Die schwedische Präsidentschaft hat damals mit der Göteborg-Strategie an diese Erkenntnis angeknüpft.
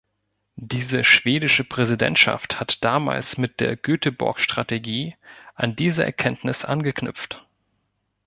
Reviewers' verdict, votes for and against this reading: rejected, 0, 2